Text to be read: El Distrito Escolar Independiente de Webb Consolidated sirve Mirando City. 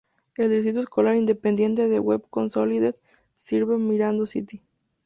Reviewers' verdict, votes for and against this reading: rejected, 0, 2